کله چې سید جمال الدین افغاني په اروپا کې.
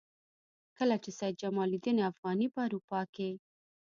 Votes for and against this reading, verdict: 2, 1, accepted